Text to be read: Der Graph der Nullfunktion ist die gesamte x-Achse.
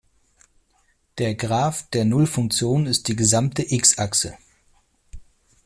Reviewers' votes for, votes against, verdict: 2, 0, accepted